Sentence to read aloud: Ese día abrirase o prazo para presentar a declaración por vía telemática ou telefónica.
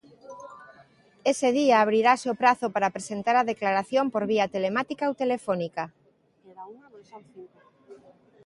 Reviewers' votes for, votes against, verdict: 2, 0, accepted